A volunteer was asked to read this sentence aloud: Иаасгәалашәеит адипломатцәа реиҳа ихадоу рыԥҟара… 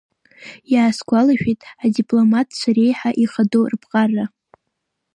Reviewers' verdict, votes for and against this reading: rejected, 1, 2